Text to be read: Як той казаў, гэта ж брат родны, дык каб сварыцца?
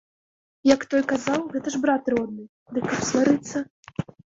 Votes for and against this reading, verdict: 2, 0, accepted